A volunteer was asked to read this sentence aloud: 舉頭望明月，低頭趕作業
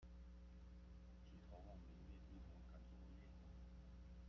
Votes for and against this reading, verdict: 0, 2, rejected